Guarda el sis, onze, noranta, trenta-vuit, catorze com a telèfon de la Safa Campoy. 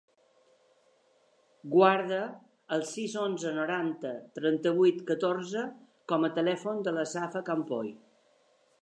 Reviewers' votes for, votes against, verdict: 3, 0, accepted